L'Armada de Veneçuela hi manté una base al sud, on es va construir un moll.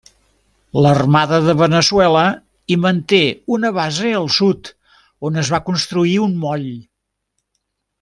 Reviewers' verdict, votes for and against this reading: accepted, 3, 0